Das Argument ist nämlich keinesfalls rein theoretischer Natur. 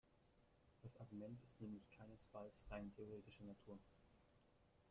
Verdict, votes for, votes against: rejected, 0, 2